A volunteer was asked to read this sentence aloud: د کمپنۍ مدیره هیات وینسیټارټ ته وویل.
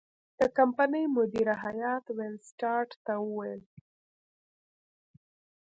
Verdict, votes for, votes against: rejected, 0, 2